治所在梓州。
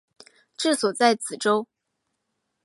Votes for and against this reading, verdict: 4, 0, accepted